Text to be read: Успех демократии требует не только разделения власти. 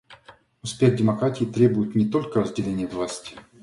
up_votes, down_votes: 2, 0